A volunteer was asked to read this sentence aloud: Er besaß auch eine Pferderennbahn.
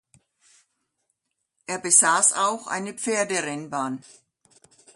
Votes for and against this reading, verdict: 2, 0, accepted